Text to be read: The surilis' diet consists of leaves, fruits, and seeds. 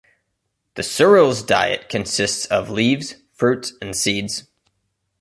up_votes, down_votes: 2, 0